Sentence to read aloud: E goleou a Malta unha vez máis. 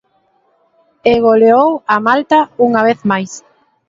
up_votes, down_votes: 2, 1